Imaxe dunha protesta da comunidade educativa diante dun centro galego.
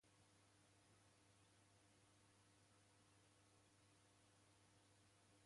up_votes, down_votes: 0, 2